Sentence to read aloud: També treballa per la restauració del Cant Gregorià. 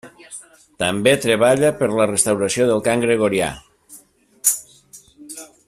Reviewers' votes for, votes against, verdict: 1, 2, rejected